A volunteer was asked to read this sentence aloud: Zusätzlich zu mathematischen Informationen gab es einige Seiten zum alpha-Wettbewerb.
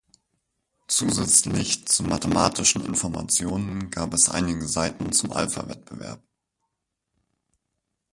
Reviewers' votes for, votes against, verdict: 2, 4, rejected